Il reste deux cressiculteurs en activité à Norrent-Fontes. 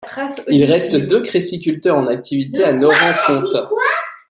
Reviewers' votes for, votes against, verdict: 0, 2, rejected